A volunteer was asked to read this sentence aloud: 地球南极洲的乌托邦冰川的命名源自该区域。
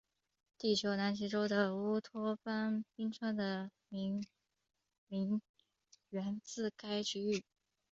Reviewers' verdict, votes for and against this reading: rejected, 0, 3